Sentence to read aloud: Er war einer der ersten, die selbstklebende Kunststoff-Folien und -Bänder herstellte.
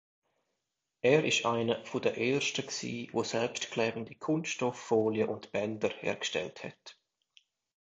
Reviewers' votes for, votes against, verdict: 0, 2, rejected